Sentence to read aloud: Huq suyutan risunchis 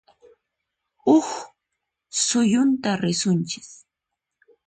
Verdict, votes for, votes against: accepted, 4, 0